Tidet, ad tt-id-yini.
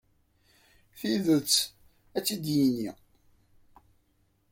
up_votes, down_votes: 2, 0